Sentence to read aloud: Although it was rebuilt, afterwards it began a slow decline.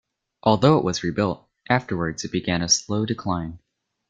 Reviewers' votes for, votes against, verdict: 1, 2, rejected